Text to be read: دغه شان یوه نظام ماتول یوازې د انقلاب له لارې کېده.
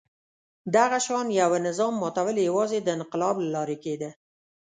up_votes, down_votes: 2, 0